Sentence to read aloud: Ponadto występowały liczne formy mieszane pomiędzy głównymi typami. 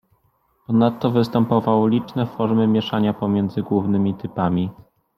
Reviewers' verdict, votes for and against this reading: rejected, 0, 2